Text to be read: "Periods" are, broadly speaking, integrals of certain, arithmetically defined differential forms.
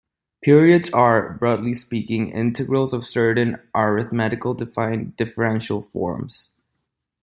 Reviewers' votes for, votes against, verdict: 0, 2, rejected